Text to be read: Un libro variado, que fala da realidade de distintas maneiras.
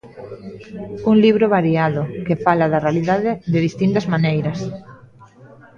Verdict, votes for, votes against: accepted, 2, 1